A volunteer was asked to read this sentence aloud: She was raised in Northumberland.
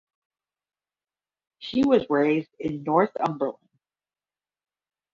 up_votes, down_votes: 0, 10